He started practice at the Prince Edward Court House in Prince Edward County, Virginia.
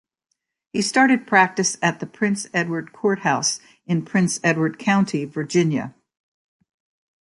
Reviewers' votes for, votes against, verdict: 2, 0, accepted